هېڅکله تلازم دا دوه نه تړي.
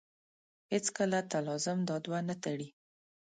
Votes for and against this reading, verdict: 2, 1, accepted